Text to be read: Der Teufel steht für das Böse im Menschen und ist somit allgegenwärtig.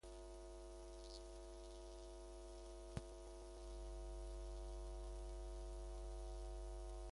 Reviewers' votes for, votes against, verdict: 0, 2, rejected